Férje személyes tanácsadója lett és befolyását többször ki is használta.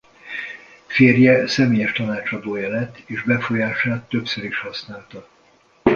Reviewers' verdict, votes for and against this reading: rejected, 1, 2